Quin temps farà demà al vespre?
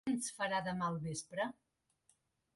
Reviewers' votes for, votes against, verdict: 1, 2, rejected